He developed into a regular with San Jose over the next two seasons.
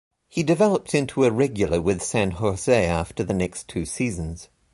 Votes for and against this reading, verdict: 0, 2, rejected